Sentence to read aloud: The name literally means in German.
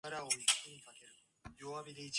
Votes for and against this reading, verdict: 0, 2, rejected